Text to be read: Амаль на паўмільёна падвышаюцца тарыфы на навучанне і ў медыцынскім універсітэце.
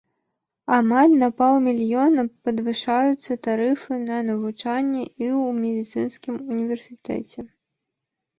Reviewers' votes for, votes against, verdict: 2, 0, accepted